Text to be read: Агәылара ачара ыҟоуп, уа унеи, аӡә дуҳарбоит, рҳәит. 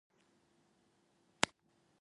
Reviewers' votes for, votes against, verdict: 1, 2, rejected